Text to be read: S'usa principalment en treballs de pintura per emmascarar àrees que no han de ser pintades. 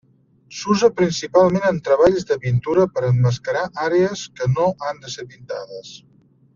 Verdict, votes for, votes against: accepted, 2, 0